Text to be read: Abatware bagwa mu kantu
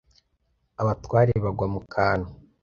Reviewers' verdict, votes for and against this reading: accepted, 2, 0